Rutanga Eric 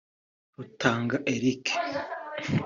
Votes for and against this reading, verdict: 2, 0, accepted